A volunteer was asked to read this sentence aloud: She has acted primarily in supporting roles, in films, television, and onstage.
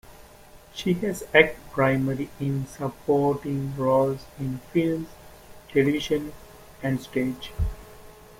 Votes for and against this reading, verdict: 0, 2, rejected